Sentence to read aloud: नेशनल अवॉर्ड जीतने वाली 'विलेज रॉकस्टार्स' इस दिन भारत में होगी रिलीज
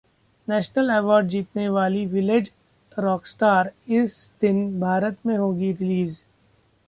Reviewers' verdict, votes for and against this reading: accepted, 2, 0